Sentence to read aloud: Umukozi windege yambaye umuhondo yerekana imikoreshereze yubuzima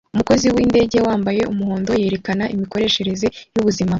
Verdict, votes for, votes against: accepted, 2, 0